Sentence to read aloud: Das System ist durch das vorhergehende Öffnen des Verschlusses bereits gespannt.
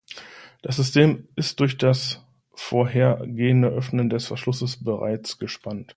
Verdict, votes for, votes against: accepted, 2, 1